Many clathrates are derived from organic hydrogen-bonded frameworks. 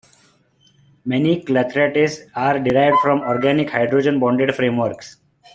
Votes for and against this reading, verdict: 2, 0, accepted